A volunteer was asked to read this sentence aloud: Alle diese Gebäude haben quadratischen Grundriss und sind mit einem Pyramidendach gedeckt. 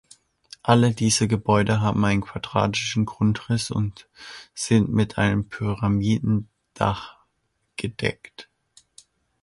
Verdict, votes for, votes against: rejected, 0, 2